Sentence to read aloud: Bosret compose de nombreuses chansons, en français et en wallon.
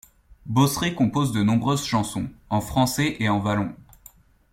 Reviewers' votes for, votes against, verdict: 2, 0, accepted